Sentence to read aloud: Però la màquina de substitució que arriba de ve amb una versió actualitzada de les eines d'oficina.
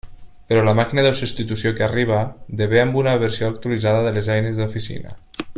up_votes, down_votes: 2, 0